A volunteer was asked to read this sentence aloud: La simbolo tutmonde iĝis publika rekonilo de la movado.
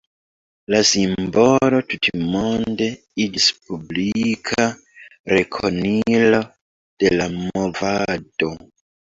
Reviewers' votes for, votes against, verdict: 1, 2, rejected